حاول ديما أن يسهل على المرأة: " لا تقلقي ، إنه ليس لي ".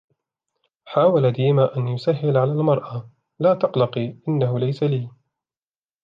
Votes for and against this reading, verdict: 2, 0, accepted